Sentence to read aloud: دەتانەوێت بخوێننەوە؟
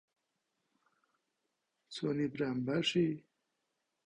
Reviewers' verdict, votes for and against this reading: rejected, 0, 2